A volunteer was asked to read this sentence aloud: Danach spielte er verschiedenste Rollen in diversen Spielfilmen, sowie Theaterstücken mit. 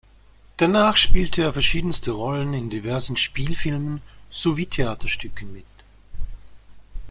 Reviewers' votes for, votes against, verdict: 2, 1, accepted